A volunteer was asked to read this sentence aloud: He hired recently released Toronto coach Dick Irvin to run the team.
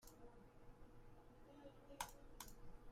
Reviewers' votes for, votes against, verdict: 0, 2, rejected